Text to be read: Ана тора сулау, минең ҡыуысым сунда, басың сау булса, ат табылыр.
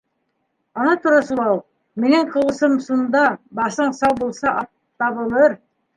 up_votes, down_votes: 1, 2